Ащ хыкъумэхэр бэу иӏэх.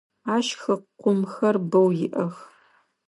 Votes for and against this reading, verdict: 0, 2, rejected